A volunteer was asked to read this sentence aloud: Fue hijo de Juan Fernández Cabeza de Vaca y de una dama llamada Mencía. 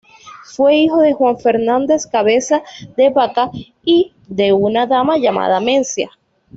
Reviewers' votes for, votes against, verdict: 1, 2, rejected